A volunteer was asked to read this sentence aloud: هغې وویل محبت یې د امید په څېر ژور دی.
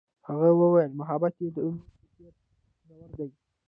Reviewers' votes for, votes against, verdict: 0, 2, rejected